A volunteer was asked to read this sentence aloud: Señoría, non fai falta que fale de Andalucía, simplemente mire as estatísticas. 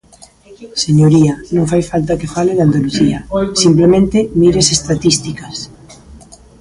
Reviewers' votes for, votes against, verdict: 1, 2, rejected